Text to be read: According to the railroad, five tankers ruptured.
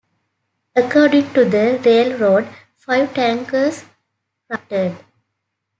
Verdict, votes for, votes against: rejected, 0, 2